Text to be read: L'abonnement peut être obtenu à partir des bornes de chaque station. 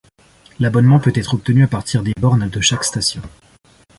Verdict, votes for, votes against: accepted, 2, 0